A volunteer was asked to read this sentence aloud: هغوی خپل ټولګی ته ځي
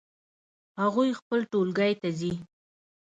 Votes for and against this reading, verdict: 2, 0, accepted